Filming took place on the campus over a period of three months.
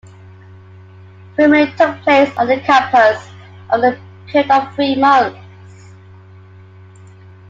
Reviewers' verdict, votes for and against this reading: accepted, 2, 1